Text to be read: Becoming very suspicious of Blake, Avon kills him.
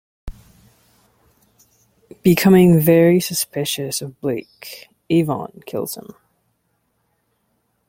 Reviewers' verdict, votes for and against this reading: accepted, 2, 0